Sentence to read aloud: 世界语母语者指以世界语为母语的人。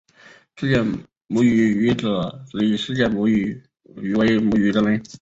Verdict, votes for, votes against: rejected, 0, 3